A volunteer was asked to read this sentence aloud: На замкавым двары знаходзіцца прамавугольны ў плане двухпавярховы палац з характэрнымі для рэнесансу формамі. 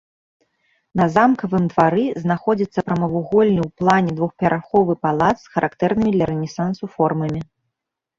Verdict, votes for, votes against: rejected, 1, 2